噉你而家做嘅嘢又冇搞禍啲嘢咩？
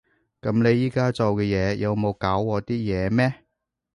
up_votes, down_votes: 1, 2